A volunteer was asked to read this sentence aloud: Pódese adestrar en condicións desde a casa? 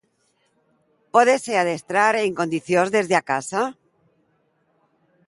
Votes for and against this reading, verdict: 2, 1, accepted